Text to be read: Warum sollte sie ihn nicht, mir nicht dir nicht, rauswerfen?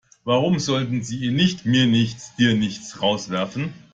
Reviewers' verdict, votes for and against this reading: accepted, 2, 1